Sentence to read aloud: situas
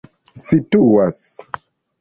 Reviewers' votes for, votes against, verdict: 2, 0, accepted